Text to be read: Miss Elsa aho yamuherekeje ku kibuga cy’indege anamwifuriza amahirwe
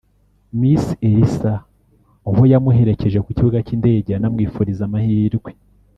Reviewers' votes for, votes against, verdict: 0, 2, rejected